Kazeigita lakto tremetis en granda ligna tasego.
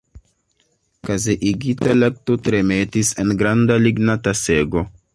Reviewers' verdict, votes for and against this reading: accepted, 2, 1